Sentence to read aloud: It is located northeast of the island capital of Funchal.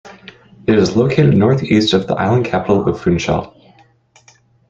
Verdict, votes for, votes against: accepted, 2, 0